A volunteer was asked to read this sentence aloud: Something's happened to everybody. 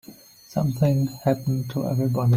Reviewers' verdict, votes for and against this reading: rejected, 1, 2